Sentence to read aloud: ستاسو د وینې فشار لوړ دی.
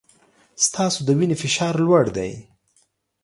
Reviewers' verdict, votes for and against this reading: accepted, 2, 0